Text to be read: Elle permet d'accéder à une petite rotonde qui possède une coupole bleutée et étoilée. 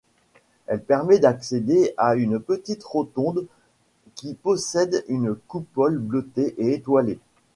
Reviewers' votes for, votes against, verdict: 2, 0, accepted